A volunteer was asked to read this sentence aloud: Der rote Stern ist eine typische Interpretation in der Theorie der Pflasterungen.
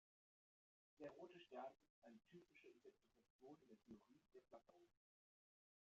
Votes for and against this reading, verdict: 0, 3, rejected